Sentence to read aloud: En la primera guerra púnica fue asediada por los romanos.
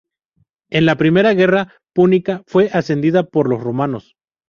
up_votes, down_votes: 0, 4